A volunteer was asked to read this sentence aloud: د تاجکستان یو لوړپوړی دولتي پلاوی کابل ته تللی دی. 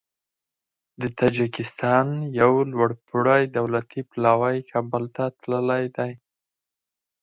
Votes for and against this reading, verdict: 4, 0, accepted